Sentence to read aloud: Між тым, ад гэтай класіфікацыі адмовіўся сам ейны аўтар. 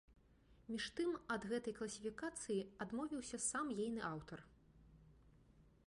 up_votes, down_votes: 2, 0